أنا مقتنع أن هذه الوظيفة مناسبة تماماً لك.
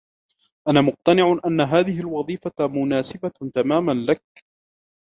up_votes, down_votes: 1, 2